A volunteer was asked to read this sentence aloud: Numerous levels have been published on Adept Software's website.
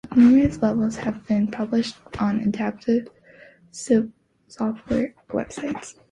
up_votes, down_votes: 0, 2